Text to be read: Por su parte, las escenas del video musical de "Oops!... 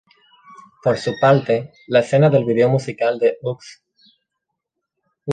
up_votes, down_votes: 2, 0